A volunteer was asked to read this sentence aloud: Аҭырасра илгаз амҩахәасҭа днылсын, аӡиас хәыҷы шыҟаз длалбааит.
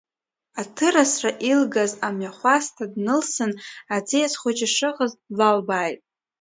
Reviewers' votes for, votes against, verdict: 2, 0, accepted